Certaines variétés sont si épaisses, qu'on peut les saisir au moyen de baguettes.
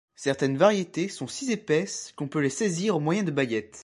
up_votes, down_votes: 1, 2